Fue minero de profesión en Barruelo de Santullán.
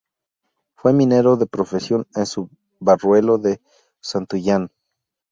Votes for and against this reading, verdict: 0, 2, rejected